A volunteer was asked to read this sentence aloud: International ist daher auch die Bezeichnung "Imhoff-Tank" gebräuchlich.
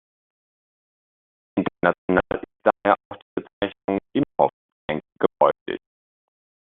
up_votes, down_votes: 0, 2